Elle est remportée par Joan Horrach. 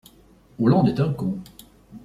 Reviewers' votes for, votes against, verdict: 0, 2, rejected